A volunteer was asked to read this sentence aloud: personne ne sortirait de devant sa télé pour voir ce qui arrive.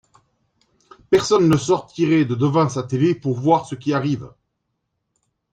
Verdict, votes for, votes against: accepted, 2, 0